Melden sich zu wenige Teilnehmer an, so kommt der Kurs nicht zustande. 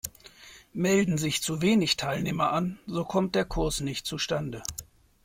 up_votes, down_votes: 1, 2